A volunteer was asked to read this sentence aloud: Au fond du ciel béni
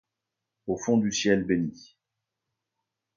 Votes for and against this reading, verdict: 2, 0, accepted